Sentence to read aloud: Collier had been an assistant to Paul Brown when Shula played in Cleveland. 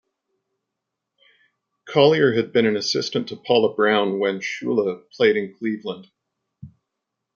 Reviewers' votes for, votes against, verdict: 2, 0, accepted